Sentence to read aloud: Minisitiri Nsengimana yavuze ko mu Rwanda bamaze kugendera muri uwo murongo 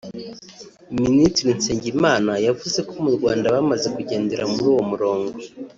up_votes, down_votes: 3, 0